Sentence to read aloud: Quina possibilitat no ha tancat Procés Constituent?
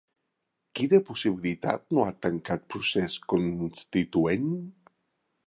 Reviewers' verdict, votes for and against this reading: rejected, 1, 2